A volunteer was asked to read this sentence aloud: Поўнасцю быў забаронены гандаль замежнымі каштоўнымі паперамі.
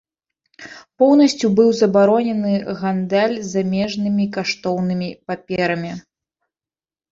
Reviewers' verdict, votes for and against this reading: rejected, 1, 2